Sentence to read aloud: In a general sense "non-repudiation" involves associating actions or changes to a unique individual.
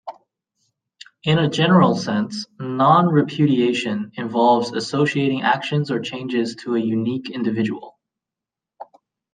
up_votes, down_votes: 2, 0